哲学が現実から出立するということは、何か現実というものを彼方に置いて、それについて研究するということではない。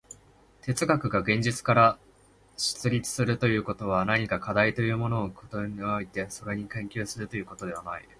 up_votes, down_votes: 0, 2